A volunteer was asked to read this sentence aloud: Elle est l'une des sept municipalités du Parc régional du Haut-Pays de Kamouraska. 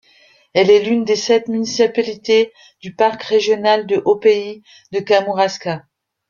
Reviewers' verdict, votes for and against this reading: rejected, 0, 2